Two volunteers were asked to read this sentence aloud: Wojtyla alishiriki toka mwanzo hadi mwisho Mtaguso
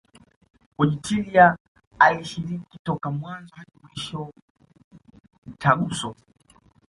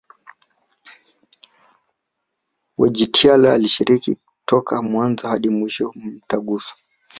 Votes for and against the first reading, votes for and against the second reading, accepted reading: 2, 0, 0, 2, first